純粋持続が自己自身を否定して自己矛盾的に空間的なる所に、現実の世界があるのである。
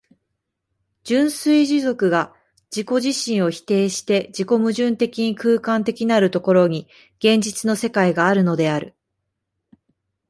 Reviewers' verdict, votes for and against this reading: accepted, 2, 0